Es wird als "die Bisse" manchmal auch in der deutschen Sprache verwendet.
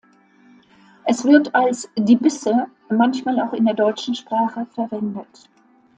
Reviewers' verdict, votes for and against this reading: accepted, 2, 0